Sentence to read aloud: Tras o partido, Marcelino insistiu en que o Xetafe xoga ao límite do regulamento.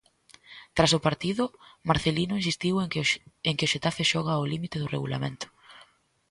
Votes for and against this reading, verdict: 1, 2, rejected